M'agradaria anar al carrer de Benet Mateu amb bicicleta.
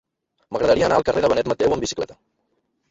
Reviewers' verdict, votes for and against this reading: rejected, 1, 2